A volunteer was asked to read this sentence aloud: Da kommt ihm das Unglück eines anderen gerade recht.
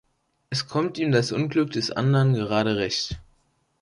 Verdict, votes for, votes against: rejected, 0, 3